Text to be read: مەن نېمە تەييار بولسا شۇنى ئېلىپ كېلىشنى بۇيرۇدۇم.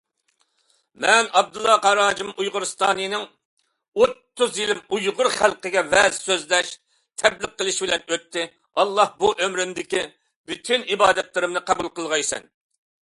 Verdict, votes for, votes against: rejected, 0, 2